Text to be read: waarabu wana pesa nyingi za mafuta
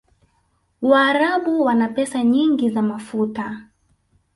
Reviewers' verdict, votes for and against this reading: accepted, 2, 0